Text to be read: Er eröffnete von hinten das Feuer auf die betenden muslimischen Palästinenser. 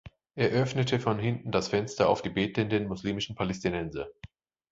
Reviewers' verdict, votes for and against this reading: rejected, 1, 2